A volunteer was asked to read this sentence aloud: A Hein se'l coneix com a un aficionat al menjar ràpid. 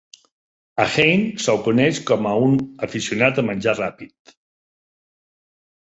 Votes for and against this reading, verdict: 0, 2, rejected